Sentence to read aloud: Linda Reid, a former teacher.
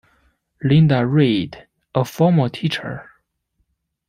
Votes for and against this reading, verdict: 2, 0, accepted